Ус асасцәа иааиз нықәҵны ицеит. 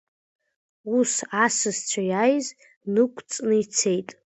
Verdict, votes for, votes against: accepted, 2, 0